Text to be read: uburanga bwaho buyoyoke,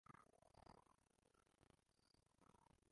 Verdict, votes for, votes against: rejected, 0, 2